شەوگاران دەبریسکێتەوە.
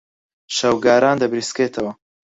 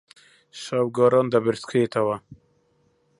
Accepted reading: first